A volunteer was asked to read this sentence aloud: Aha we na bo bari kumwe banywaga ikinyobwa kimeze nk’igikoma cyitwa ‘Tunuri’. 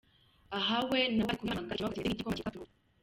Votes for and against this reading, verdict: 0, 2, rejected